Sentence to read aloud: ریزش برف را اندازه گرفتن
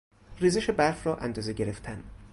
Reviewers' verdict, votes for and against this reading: accepted, 4, 0